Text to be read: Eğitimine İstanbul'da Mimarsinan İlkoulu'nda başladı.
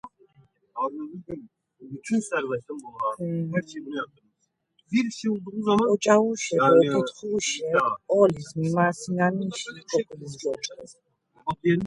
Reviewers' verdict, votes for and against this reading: rejected, 0, 2